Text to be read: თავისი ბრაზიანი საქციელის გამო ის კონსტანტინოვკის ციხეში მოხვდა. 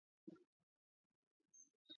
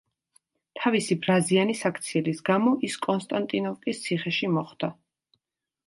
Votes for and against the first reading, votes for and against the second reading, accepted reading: 0, 2, 2, 0, second